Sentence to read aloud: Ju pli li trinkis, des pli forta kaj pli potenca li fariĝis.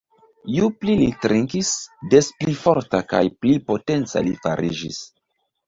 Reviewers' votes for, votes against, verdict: 0, 2, rejected